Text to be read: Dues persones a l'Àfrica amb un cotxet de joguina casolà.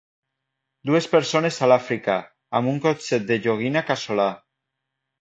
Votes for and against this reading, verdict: 1, 2, rejected